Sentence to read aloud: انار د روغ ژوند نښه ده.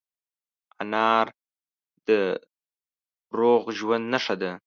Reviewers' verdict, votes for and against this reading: accepted, 2, 0